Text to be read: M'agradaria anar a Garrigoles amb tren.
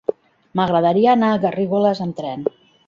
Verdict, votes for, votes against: rejected, 1, 2